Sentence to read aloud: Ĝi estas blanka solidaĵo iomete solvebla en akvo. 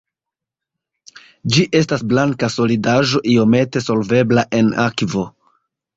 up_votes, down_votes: 0, 2